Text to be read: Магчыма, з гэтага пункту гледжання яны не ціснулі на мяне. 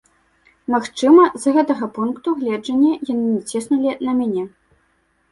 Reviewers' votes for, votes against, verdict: 2, 0, accepted